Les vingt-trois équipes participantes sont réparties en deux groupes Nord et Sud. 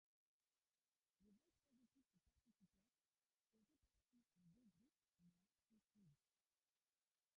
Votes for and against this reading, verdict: 0, 2, rejected